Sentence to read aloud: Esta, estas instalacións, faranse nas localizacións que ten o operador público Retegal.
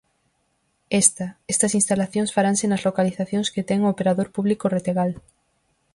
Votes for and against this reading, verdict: 4, 0, accepted